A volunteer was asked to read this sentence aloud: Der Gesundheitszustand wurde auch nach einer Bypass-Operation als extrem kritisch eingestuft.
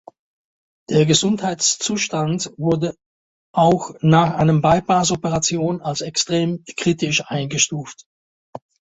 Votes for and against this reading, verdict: 0, 2, rejected